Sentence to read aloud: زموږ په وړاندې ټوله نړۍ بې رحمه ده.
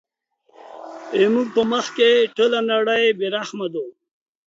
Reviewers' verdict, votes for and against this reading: rejected, 0, 2